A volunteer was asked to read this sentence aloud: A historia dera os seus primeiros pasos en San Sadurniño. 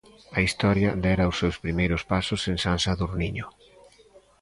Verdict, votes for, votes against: accepted, 2, 0